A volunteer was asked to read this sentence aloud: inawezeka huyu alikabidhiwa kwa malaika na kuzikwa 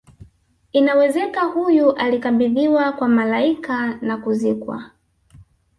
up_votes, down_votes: 3, 0